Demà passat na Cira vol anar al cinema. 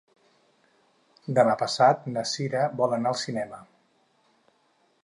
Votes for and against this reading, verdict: 6, 0, accepted